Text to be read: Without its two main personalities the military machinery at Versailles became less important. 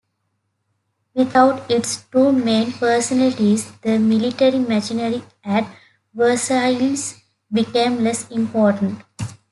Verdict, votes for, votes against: rejected, 0, 2